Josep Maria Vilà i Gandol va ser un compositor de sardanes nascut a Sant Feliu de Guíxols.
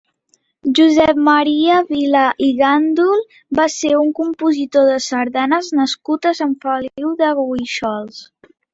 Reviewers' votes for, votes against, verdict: 1, 2, rejected